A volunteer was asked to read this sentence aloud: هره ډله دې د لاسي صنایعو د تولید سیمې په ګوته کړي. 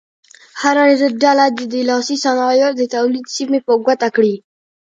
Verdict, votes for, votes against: accepted, 2, 1